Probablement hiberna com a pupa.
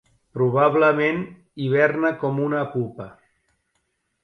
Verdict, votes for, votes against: rejected, 0, 2